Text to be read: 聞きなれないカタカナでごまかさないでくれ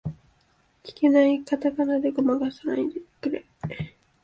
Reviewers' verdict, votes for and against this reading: rejected, 0, 2